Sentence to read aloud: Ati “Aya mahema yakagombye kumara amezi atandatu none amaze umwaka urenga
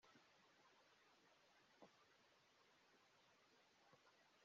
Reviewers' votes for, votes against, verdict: 0, 2, rejected